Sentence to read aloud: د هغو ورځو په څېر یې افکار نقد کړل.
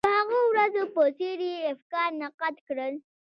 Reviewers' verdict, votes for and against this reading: accepted, 2, 0